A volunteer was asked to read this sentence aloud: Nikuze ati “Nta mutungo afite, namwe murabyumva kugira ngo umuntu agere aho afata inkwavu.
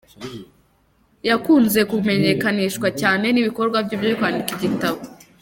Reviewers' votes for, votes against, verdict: 0, 3, rejected